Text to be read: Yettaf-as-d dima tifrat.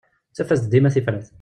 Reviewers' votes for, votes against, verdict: 0, 2, rejected